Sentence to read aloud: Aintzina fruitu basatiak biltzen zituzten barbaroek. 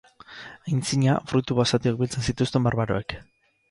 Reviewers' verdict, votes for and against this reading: accepted, 2, 0